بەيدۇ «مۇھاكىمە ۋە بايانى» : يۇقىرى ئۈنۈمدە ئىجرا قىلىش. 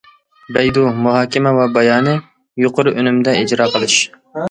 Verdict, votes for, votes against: accepted, 2, 0